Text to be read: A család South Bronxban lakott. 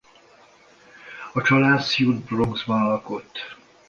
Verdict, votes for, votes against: rejected, 0, 2